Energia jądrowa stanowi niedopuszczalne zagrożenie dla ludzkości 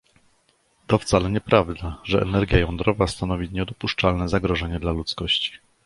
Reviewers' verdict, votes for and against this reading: rejected, 0, 2